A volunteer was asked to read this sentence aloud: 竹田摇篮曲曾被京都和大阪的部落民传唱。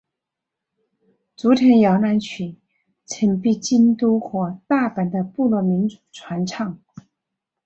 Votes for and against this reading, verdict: 3, 1, accepted